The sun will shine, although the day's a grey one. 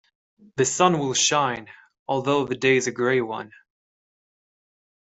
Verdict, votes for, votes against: accepted, 2, 0